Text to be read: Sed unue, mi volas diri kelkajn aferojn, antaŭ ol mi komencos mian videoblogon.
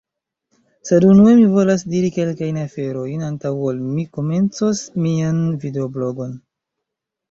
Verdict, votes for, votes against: accepted, 2, 0